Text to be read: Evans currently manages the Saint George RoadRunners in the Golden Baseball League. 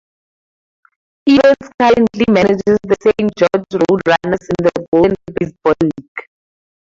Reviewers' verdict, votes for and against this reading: rejected, 2, 2